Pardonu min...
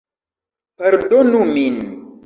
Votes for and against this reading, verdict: 2, 0, accepted